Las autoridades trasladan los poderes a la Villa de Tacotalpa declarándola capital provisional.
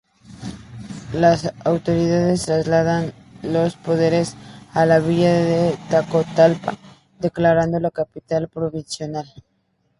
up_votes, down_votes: 2, 0